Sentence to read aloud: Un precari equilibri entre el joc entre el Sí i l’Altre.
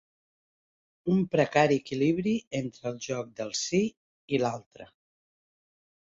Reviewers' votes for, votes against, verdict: 0, 2, rejected